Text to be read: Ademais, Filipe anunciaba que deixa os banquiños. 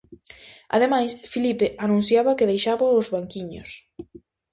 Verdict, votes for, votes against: rejected, 0, 2